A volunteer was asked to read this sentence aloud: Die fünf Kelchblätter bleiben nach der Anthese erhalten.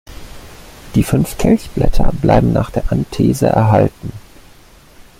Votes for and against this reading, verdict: 2, 0, accepted